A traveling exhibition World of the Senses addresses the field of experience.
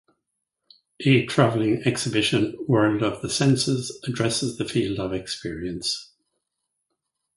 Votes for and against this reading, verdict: 4, 0, accepted